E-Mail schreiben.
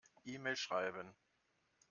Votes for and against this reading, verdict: 2, 0, accepted